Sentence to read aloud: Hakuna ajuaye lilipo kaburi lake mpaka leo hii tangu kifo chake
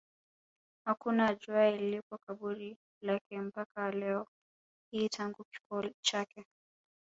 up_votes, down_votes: 1, 2